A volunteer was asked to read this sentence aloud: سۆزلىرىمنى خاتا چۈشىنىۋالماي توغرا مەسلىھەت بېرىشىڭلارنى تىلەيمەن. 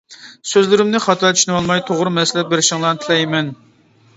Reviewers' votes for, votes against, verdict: 2, 0, accepted